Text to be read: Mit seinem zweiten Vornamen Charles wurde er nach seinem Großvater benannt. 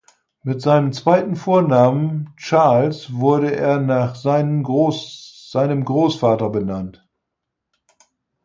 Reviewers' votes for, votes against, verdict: 0, 4, rejected